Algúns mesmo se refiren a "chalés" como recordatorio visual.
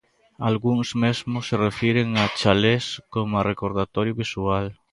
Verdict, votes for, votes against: rejected, 0, 2